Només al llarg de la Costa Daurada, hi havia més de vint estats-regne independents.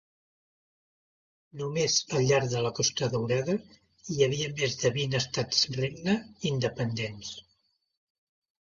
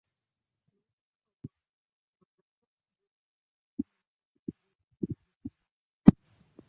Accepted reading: first